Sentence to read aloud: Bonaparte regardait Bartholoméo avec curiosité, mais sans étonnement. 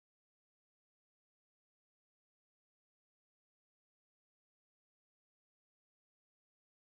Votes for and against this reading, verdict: 0, 2, rejected